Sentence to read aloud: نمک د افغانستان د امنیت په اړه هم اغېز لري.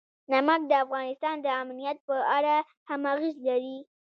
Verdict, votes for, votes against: rejected, 1, 2